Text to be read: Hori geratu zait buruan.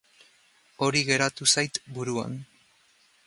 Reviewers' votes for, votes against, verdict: 2, 0, accepted